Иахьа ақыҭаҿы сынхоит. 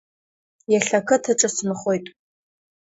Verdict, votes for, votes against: accepted, 2, 0